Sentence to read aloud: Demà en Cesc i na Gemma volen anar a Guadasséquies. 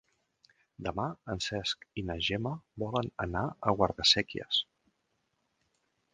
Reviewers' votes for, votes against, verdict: 2, 3, rejected